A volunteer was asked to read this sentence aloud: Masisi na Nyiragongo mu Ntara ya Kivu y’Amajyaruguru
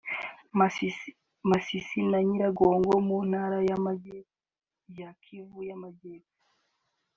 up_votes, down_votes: 0, 2